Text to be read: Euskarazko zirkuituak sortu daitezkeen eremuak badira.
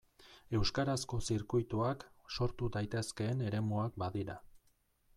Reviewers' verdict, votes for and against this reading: accepted, 2, 0